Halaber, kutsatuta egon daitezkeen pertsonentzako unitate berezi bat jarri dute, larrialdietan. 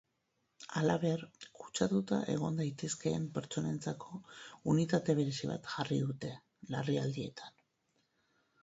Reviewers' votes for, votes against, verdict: 8, 2, accepted